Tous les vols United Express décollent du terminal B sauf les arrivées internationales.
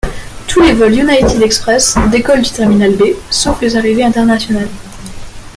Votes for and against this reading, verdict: 1, 2, rejected